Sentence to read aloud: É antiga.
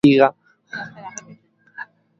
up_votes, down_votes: 0, 6